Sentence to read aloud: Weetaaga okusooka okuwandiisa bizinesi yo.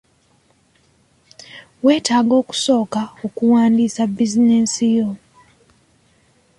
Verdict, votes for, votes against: accepted, 2, 0